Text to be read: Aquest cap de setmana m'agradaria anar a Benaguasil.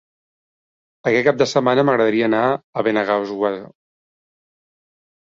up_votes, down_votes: 1, 2